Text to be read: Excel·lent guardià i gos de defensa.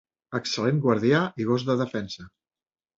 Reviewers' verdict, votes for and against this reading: accepted, 3, 0